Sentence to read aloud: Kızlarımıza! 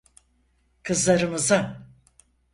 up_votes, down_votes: 4, 0